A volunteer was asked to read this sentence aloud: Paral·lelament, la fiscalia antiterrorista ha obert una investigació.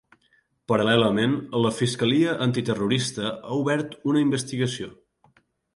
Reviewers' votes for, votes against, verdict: 3, 0, accepted